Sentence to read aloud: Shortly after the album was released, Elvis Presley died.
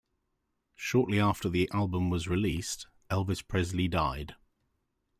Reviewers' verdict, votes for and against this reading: accepted, 2, 1